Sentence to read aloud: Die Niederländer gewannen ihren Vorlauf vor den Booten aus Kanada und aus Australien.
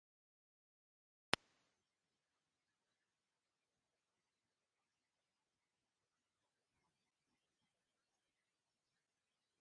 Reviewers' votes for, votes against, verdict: 0, 2, rejected